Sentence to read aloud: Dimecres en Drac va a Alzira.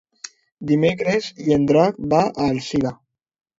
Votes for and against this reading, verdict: 0, 2, rejected